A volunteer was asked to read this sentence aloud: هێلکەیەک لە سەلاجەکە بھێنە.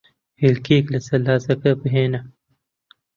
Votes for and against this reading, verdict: 2, 0, accepted